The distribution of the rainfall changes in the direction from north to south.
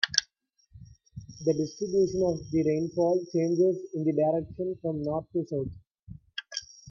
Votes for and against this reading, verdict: 2, 0, accepted